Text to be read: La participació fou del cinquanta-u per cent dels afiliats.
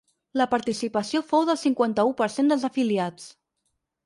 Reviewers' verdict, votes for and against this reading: accepted, 4, 0